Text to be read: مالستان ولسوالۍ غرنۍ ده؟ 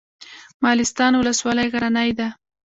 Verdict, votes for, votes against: accepted, 2, 0